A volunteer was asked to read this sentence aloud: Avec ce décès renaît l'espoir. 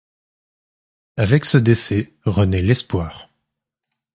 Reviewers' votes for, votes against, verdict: 2, 0, accepted